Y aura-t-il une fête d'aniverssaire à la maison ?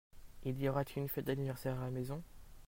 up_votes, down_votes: 0, 2